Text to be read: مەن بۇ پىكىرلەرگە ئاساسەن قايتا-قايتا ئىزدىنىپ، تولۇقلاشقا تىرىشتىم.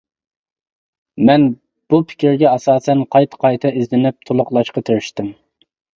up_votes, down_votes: 0, 2